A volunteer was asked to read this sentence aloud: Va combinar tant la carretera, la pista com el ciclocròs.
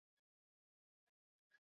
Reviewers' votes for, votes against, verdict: 0, 2, rejected